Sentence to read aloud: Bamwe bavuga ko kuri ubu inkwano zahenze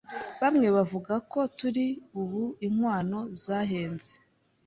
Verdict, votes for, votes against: rejected, 1, 2